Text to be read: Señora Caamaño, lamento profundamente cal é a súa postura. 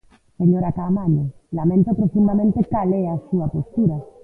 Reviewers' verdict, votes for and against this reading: rejected, 1, 2